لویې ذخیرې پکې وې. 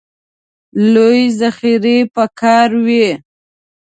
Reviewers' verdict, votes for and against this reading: rejected, 1, 2